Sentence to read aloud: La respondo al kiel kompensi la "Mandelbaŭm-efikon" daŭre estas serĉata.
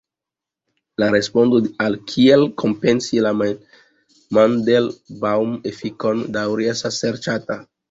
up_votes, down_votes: 2, 1